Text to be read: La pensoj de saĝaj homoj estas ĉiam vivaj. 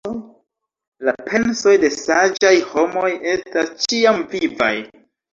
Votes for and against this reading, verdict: 3, 1, accepted